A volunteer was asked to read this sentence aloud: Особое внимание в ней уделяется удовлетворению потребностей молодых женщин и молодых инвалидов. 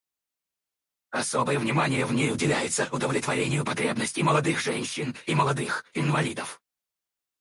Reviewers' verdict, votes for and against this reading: rejected, 2, 2